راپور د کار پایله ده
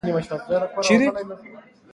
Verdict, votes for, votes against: accepted, 2, 0